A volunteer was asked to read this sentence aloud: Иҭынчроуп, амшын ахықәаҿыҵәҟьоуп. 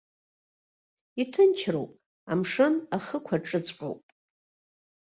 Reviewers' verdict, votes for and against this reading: accepted, 2, 0